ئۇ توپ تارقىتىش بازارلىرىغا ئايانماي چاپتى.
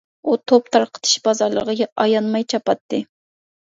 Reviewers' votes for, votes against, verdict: 0, 2, rejected